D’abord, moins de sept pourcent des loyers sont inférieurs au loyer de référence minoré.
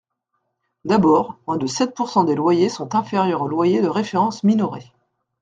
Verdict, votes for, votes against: accepted, 2, 0